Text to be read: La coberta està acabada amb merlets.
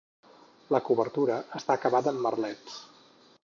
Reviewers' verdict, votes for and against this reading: rejected, 0, 4